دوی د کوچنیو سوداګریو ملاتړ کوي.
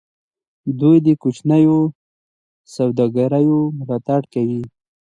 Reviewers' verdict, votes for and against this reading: accepted, 2, 0